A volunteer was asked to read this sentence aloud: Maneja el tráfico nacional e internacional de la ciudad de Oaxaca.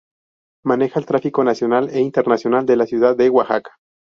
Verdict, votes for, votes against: rejected, 0, 2